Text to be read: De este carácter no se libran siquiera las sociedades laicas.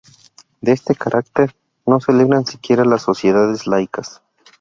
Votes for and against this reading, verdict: 4, 0, accepted